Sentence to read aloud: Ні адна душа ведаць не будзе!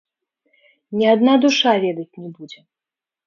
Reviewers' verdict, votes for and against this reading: rejected, 0, 2